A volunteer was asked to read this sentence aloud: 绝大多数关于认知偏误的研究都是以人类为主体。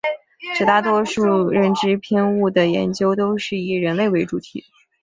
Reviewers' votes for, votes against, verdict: 2, 0, accepted